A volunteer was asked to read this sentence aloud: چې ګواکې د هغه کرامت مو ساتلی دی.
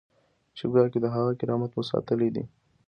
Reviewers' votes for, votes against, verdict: 2, 0, accepted